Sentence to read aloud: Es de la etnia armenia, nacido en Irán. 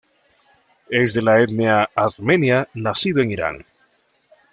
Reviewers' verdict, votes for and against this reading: rejected, 1, 2